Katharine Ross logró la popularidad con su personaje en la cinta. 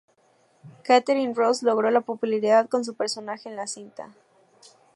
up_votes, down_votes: 2, 0